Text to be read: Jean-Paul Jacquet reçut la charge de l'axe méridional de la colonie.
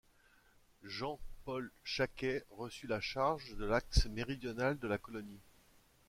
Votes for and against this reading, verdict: 2, 0, accepted